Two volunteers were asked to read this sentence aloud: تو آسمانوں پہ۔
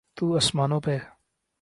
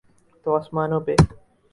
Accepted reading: first